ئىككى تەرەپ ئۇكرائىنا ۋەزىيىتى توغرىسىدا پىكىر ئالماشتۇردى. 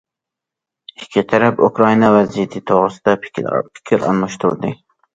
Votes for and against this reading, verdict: 0, 2, rejected